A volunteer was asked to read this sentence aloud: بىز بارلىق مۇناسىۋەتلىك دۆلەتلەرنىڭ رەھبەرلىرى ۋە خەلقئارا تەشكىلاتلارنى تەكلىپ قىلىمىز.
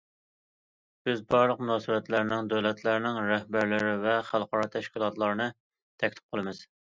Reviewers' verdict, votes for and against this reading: rejected, 0, 2